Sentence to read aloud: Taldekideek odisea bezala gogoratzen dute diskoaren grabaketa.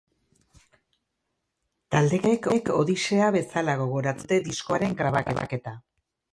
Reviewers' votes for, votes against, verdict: 0, 2, rejected